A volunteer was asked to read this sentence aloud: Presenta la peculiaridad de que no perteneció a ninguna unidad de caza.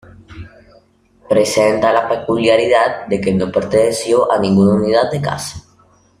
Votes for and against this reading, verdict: 2, 0, accepted